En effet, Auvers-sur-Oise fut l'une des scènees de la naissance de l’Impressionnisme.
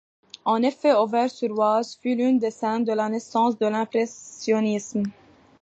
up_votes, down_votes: 2, 1